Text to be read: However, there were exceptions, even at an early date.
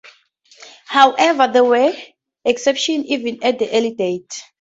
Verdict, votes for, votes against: rejected, 0, 2